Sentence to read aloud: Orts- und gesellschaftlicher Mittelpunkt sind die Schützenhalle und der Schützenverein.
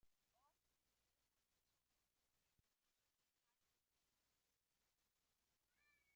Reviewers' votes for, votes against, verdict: 0, 2, rejected